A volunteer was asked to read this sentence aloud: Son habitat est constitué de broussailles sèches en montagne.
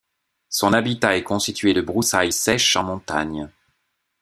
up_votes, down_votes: 2, 0